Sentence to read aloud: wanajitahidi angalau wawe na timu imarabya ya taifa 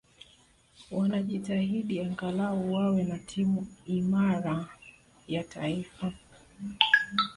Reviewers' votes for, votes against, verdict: 0, 2, rejected